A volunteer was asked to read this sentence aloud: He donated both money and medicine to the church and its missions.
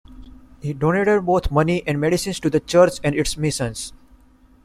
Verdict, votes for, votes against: accepted, 2, 1